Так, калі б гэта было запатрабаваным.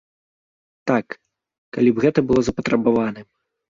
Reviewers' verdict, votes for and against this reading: accepted, 2, 0